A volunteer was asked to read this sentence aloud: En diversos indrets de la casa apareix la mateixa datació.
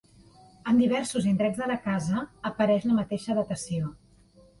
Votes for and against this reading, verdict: 2, 0, accepted